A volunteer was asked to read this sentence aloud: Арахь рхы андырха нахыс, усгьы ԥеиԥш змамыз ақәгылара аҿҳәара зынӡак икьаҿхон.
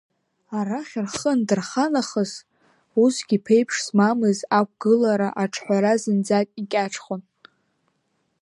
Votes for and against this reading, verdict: 2, 0, accepted